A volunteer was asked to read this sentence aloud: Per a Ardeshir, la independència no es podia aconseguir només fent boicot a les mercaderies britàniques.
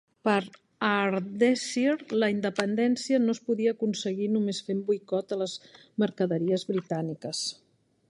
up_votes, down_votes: 0, 2